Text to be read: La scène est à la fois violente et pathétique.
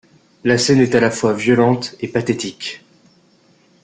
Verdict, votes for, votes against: accepted, 2, 1